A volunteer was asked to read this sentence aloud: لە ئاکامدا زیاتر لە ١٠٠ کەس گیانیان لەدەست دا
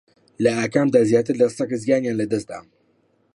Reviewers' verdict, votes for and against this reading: rejected, 0, 2